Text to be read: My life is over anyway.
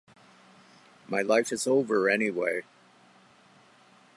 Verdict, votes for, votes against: accepted, 2, 0